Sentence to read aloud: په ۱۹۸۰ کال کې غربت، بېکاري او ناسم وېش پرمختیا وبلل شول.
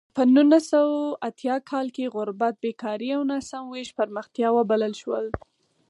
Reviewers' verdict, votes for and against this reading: rejected, 0, 2